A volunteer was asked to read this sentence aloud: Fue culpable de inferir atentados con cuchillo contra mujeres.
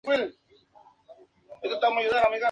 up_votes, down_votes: 0, 2